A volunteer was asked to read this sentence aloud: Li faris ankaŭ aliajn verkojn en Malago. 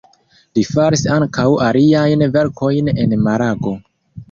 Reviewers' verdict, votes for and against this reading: accepted, 2, 0